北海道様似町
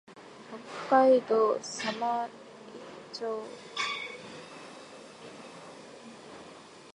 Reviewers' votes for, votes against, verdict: 0, 2, rejected